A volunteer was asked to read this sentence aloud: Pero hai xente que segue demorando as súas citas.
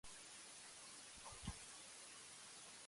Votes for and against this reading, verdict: 0, 2, rejected